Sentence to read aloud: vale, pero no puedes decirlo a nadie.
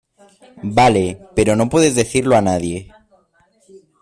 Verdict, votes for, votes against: accepted, 2, 0